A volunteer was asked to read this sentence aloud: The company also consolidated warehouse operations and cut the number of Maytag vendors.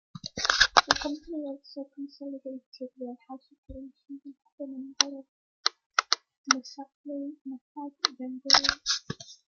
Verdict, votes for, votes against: rejected, 1, 2